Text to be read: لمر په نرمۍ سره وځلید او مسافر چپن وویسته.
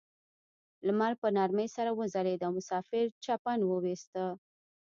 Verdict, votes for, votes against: rejected, 1, 2